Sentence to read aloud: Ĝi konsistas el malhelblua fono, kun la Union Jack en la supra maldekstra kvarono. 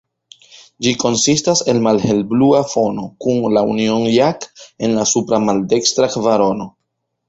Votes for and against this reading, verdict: 2, 0, accepted